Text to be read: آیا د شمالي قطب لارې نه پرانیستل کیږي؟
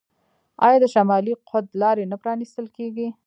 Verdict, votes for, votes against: rejected, 1, 2